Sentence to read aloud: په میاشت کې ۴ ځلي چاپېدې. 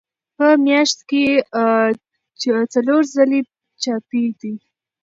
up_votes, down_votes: 0, 2